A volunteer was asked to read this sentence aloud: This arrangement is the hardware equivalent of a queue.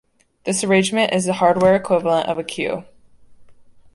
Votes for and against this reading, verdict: 2, 0, accepted